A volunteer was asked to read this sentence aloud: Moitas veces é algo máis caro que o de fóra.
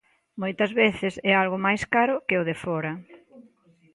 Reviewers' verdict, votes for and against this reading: accepted, 2, 0